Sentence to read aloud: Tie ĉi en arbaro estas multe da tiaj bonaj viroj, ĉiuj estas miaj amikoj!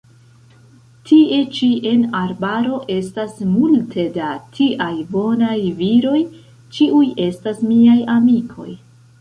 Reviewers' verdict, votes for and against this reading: rejected, 1, 2